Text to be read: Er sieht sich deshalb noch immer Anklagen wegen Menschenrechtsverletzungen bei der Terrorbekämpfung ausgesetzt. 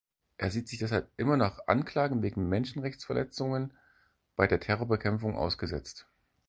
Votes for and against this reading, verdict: 0, 4, rejected